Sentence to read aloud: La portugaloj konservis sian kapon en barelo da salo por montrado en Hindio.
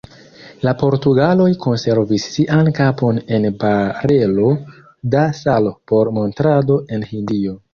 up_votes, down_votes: 2, 1